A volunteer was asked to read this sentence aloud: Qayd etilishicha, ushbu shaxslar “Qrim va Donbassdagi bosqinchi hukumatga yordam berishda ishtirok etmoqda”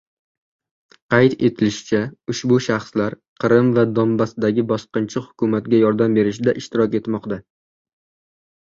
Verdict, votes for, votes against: rejected, 0, 2